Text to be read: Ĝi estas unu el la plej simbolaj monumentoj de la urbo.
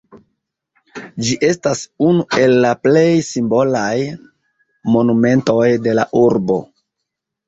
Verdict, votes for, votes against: accepted, 2, 0